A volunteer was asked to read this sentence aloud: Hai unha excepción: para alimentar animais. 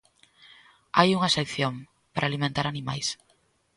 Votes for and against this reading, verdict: 3, 0, accepted